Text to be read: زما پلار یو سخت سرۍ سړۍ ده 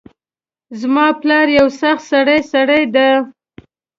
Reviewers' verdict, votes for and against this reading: accepted, 2, 0